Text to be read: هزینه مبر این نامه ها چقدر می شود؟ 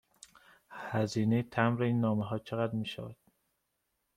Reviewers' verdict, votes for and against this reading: accepted, 2, 0